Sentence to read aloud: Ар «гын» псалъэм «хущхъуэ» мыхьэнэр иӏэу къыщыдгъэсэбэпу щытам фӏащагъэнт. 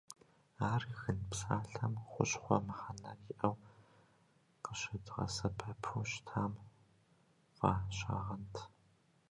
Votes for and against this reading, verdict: 2, 1, accepted